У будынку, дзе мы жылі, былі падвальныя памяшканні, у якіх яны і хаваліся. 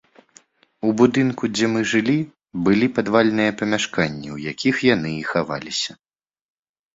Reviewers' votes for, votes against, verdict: 2, 0, accepted